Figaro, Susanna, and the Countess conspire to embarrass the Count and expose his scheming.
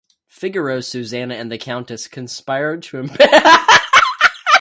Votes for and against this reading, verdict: 0, 2, rejected